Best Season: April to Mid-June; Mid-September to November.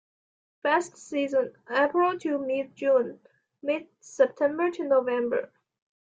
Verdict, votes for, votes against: accepted, 2, 0